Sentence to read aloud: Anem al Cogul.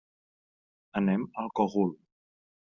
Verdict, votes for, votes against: accepted, 3, 0